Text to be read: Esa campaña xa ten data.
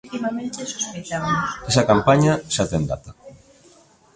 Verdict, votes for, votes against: accepted, 2, 1